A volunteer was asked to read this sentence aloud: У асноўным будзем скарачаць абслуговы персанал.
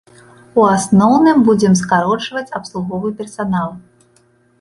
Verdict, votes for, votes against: rejected, 0, 2